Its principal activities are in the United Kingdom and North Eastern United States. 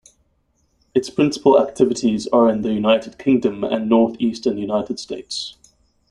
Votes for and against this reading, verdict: 1, 2, rejected